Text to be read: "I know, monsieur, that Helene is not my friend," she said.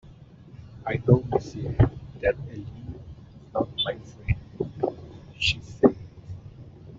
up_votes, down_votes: 0, 2